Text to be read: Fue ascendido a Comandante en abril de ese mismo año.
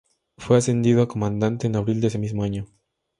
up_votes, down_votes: 2, 0